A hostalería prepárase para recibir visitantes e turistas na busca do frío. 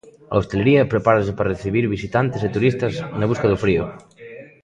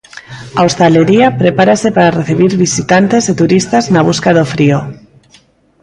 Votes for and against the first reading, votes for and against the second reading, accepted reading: 1, 2, 2, 0, second